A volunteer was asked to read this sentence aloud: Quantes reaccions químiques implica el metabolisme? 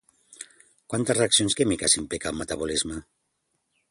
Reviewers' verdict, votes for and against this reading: accepted, 3, 0